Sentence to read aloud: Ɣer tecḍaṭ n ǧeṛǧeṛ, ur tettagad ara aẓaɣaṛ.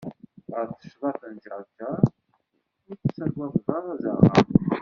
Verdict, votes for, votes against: rejected, 0, 2